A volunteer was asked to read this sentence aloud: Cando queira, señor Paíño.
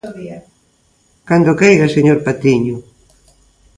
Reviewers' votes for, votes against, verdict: 1, 2, rejected